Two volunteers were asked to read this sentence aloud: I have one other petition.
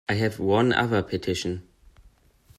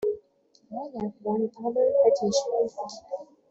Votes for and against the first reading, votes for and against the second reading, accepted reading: 2, 1, 0, 2, first